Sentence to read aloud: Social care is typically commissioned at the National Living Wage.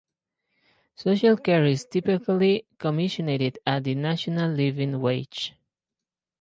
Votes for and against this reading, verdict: 0, 2, rejected